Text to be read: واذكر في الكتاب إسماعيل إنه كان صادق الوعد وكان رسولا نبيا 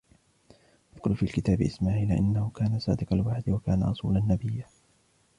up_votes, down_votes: 1, 2